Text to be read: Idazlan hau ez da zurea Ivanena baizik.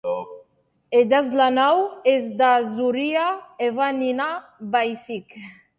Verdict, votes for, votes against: rejected, 1, 2